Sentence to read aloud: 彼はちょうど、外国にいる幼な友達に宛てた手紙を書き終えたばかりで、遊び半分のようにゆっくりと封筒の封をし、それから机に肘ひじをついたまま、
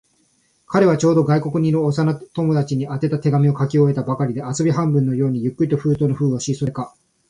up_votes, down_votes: 0, 2